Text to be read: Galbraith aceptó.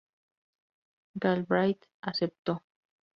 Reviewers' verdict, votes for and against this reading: accepted, 4, 0